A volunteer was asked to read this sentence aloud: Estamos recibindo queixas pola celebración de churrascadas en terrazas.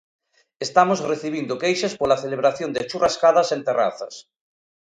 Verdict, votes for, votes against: accepted, 2, 0